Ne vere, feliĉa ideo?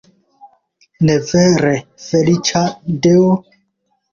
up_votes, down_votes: 2, 3